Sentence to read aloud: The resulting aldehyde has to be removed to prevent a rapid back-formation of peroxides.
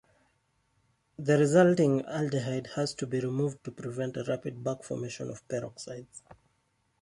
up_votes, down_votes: 2, 0